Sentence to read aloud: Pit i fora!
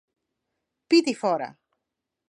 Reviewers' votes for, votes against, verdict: 4, 0, accepted